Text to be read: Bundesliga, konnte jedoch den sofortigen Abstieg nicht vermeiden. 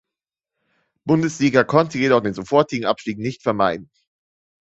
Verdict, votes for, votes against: accepted, 2, 0